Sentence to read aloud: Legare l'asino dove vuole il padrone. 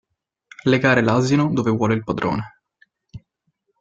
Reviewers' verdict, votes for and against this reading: accepted, 2, 0